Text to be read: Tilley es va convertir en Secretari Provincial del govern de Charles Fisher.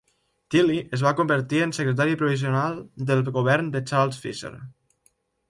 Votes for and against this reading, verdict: 0, 3, rejected